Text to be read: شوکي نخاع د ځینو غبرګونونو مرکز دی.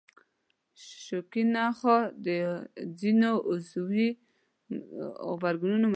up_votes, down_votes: 0, 2